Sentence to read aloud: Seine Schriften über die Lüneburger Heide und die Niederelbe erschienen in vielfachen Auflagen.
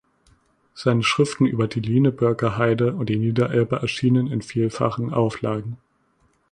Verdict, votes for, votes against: rejected, 1, 2